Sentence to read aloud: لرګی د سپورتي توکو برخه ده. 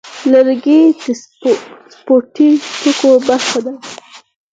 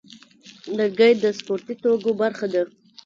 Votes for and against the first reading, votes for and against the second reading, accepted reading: 4, 2, 1, 2, first